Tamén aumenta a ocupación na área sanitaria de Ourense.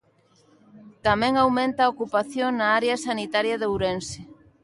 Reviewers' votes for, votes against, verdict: 3, 0, accepted